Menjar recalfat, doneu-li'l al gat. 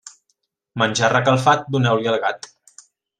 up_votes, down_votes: 1, 2